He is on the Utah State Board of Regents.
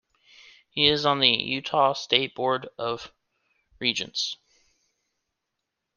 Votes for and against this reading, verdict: 2, 0, accepted